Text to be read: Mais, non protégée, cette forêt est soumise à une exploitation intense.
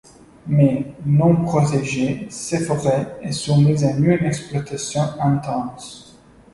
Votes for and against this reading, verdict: 2, 1, accepted